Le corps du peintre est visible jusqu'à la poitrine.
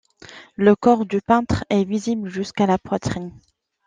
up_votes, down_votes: 2, 0